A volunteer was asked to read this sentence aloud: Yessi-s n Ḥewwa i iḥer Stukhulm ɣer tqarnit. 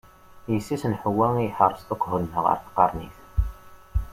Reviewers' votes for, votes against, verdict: 2, 0, accepted